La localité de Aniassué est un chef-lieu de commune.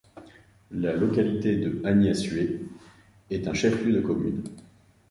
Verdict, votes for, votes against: accepted, 2, 0